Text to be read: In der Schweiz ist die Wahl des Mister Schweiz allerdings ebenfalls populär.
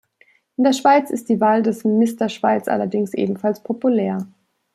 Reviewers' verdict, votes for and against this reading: accepted, 2, 0